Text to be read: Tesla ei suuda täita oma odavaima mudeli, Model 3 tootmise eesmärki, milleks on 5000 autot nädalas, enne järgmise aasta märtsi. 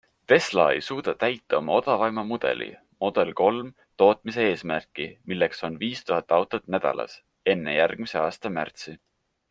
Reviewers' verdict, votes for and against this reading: rejected, 0, 2